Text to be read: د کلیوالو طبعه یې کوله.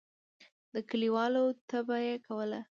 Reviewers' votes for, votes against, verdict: 2, 0, accepted